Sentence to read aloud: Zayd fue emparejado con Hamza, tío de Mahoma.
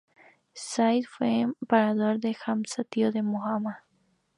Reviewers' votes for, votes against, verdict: 2, 0, accepted